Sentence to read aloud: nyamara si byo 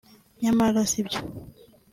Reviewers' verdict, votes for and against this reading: accepted, 2, 0